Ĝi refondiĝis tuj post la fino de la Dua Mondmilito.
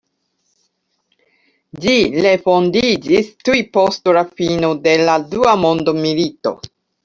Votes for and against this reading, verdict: 0, 2, rejected